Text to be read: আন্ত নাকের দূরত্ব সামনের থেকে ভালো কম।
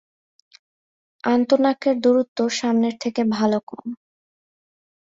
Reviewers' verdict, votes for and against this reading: accepted, 3, 0